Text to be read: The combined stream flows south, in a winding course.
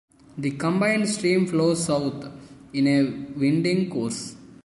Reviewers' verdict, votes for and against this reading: rejected, 0, 2